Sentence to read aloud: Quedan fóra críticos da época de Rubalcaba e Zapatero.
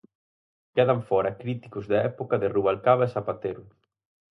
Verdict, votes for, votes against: accepted, 4, 0